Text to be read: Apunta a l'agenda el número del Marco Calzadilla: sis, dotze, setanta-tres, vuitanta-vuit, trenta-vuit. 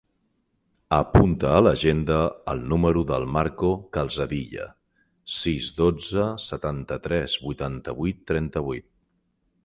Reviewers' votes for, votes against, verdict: 4, 0, accepted